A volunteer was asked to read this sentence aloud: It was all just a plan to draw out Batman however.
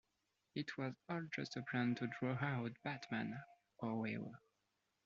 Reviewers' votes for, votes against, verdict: 0, 2, rejected